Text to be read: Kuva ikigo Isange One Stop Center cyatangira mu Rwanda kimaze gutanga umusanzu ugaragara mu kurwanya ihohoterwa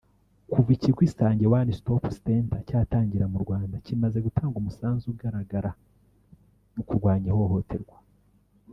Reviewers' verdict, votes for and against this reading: rejected, 1, 2